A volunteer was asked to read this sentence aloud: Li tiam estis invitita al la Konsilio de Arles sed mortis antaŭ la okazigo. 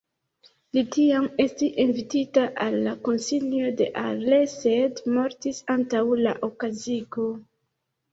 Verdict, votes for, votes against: rejected, 1, 2